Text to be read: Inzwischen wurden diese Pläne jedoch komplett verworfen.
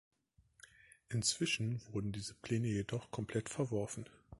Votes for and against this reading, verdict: 2, 0, accepted